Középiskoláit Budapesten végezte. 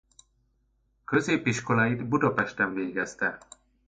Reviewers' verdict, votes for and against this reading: accepted, 2, 0